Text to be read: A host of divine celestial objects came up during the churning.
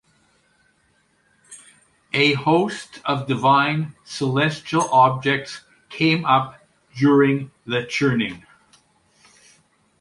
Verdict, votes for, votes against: accepted, 2, 0